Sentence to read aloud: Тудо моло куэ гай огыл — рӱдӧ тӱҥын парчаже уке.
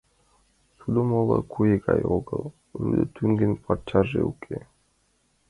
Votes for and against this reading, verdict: 1, 2, rejected